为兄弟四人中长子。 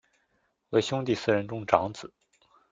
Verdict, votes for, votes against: accepted, 2, 0